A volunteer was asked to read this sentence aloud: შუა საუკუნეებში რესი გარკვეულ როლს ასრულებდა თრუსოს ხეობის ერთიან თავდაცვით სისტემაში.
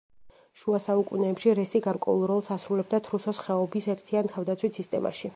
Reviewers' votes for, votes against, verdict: 2, 0, accepted